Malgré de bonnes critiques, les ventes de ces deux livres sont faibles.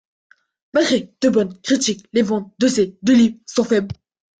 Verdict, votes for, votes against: rejected, 1, 2